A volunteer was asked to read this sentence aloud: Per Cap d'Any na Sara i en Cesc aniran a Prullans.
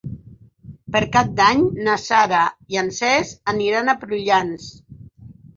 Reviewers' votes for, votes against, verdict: 6, 0, accepted